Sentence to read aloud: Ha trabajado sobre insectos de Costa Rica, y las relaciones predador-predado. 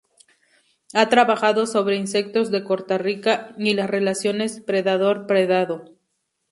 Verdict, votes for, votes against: rejected, 0, 2